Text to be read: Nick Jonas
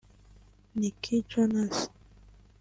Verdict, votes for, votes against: rejected, 0, 2